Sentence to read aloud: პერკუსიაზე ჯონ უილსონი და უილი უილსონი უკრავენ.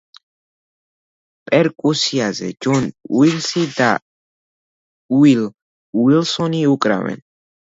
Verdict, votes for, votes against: rejected, 1, 2